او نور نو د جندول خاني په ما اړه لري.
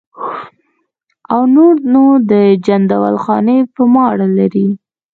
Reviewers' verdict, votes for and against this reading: rejected, 1, 2